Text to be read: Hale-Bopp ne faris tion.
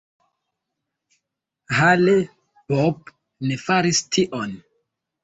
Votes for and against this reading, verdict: 2, 0, accepted